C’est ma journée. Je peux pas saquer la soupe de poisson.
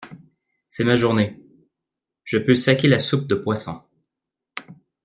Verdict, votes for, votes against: rejected, 0, 2